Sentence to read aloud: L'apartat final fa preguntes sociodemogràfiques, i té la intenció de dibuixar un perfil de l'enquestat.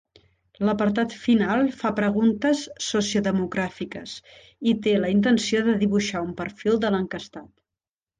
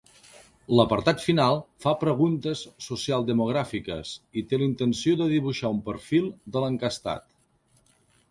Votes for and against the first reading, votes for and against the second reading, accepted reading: 2, 1, 1, 2, first